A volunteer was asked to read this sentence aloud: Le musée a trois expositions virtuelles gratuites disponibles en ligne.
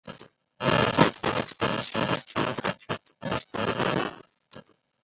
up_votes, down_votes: 0, 2